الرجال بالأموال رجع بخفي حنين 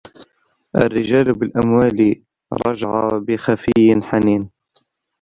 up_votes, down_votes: 0, 2